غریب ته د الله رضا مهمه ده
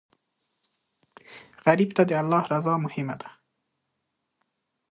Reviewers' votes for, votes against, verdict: 2, 0, accepted